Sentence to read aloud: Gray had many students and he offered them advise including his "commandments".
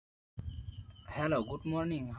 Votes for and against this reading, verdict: 0, 2, rejected